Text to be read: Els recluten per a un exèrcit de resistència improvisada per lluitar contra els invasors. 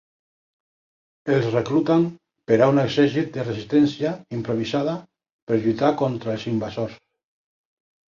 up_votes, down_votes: 0, 2